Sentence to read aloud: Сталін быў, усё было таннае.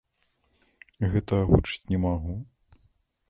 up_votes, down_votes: 0, 3